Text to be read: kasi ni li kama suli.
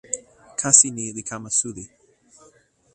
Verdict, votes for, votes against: rejected, 0, 2